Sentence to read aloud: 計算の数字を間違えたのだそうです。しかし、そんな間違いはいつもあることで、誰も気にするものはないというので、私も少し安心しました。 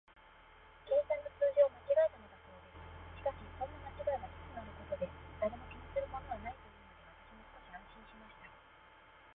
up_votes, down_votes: 0, 2